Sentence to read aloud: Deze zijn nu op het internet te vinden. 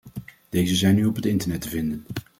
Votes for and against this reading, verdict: 2, 0, accepted